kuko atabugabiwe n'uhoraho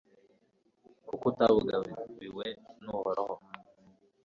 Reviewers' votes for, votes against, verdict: 2, 1, accepted